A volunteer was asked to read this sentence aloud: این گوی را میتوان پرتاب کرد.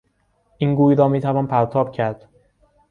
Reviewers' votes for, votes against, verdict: 2, 0, accepted